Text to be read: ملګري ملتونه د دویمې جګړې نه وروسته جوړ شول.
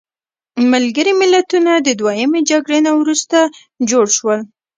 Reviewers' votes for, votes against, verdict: 0, 2, rejected